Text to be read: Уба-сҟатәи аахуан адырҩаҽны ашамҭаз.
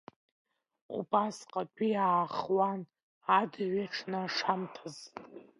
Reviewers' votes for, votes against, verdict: 0, 2, rejected